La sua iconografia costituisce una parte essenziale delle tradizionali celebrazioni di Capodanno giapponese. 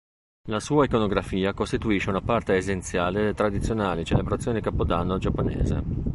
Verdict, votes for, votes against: rejected, 1, 4